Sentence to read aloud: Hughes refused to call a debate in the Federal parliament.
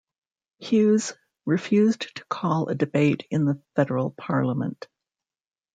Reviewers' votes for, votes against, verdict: 2, 0, accepted